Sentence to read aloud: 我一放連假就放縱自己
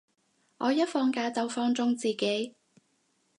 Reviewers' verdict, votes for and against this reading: rejected, 2, 2